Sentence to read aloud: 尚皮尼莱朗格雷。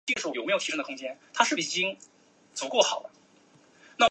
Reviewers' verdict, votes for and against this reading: rejected, 0, 3